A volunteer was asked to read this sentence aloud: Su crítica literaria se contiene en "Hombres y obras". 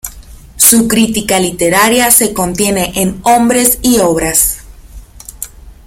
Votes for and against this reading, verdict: 2, 0, accepted